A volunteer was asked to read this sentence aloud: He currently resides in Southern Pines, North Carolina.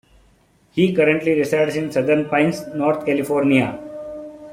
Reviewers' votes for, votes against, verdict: 0, 2, rejected